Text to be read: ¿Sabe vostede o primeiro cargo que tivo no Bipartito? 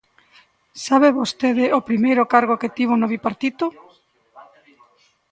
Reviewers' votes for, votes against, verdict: 1, 2, rejected